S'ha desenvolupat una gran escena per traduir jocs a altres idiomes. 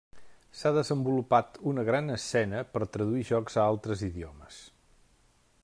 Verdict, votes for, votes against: rejected, 1, 2